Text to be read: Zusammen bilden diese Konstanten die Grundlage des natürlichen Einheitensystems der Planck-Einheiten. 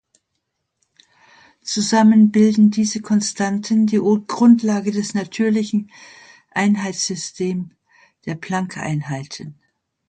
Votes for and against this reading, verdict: 1, 2, rejected